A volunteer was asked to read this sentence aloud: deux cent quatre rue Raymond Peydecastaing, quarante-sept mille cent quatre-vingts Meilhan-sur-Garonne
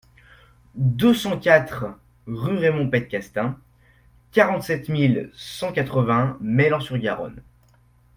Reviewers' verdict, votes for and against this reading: accepted, 2, 0